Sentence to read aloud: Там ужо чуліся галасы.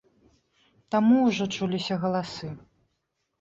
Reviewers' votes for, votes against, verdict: 0, 2, rejected